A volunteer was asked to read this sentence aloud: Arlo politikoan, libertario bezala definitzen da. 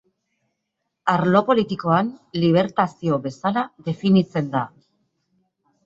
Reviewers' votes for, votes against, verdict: 2, 0, accepted